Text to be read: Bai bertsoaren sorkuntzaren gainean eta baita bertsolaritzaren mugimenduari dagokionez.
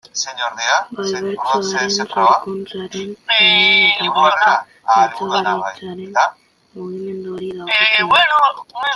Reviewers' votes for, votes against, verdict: 0, 2, rejected